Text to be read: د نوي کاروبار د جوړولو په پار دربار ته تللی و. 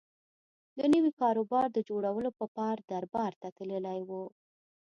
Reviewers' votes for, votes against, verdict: 2, 0, accepted